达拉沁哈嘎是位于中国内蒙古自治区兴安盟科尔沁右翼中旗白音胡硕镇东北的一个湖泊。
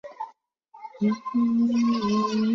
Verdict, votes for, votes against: rejected, 0, 2